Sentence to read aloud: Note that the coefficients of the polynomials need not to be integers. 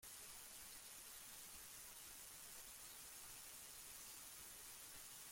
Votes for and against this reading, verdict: 0, 2, rejected